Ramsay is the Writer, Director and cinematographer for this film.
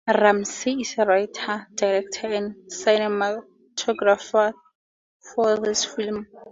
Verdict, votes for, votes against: rejected, 2, 2